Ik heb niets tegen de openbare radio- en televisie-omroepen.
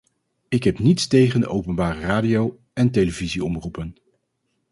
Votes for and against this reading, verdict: 4, 0, accepted